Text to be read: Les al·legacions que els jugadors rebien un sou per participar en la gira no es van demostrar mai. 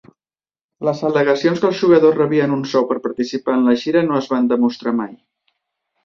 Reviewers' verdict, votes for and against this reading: accepted, 4, 0